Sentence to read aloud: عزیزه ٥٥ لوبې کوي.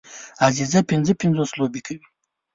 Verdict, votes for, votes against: rejected, 0, 2